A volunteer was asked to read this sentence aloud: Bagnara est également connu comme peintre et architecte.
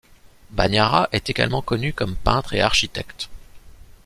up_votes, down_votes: 2, 0